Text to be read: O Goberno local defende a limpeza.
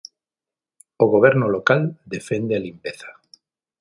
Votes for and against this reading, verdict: 12, 0, accepted